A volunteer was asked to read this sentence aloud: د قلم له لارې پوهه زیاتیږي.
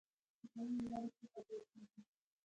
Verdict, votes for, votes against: rejected, 0, 2